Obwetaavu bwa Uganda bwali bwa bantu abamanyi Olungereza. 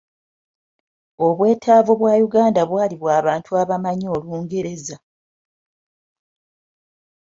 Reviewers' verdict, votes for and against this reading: accepted, 2, 0